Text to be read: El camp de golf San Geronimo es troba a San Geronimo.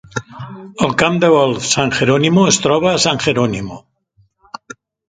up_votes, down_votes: 2, 0